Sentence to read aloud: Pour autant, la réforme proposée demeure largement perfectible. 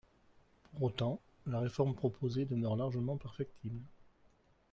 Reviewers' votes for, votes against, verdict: 2, 0, accepted